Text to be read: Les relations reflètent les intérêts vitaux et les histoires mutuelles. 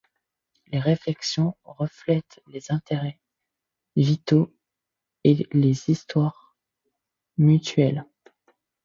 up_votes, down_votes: 0, 2